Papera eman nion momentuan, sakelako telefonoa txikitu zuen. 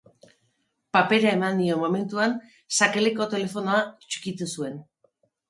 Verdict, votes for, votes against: rejected, 0, 2